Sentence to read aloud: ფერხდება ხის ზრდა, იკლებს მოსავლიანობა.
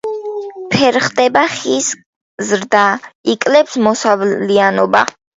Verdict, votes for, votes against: rejected, 1, 2